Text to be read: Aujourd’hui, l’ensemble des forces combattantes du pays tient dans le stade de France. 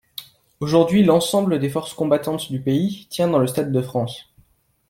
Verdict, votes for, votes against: accepted, 2, 0